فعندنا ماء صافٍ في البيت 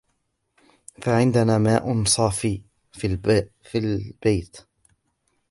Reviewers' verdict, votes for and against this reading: rejected, 1, 2